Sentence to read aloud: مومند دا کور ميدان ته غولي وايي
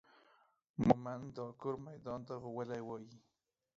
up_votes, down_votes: 1, 2